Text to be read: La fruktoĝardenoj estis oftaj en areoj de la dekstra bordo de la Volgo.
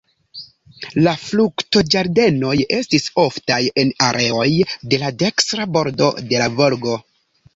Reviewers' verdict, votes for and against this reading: accepted, 2, 1